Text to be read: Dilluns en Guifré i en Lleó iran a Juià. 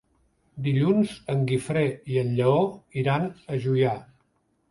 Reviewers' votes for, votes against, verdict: 3, 0, accepted